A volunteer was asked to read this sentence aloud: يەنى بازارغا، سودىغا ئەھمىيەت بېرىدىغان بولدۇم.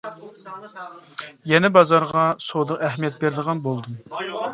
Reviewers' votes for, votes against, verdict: 0, 2, rejected